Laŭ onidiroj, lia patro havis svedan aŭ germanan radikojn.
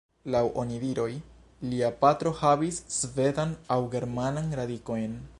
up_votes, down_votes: 1, 2